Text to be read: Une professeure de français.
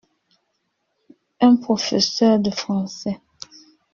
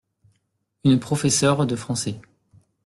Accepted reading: second